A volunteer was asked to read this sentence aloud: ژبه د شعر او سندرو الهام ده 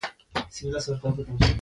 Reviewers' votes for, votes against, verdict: 2, 1, accepted